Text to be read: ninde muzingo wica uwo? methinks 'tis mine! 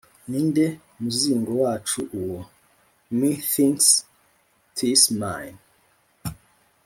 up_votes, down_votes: 1, 2